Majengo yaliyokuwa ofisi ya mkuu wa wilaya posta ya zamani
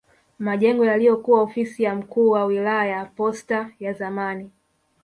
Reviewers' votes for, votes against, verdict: 2, 0, accepted